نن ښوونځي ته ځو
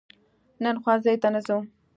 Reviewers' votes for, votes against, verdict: 2, 0, accepted